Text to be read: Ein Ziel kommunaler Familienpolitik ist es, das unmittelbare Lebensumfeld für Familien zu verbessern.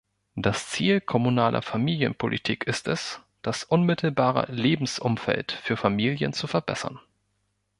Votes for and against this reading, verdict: 1, 2, rejected